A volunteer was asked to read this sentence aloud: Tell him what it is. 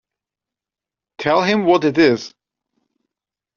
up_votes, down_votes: 2, 0